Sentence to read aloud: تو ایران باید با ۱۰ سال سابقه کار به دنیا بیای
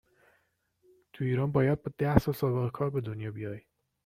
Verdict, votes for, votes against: rejected, 0, 2